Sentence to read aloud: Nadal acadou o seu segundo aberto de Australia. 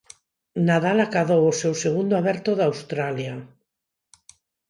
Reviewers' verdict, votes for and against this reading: rejected, 0, 4